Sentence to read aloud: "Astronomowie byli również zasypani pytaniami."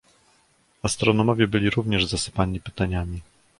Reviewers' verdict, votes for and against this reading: accepted, 2, 0